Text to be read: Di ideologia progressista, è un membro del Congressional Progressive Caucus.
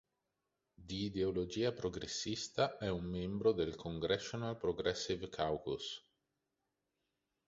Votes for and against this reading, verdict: 4, 0, accepted